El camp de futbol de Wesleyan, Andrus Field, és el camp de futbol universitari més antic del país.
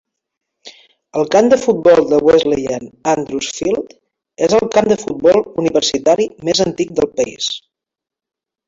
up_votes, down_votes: 1, 2